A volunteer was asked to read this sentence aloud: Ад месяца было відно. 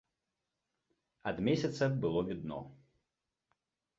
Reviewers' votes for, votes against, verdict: 2, 0, accepted